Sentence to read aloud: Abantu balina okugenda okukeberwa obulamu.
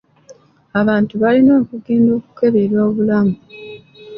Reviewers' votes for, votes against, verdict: 0, 2, rejected